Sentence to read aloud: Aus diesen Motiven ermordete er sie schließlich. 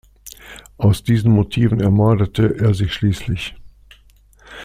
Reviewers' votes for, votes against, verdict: 2, 0, accepted